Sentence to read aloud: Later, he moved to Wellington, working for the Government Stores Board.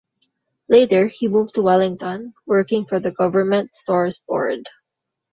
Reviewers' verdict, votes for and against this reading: accepted, 2, 0